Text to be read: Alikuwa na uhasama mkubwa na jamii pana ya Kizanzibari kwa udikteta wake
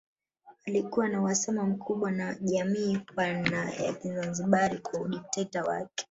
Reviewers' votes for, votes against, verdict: 0, 3, rejected